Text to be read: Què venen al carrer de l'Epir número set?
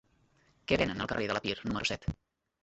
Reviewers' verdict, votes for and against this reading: rejected, 0, 2